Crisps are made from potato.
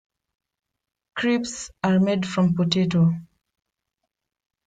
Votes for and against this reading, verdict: 2, 3, rejected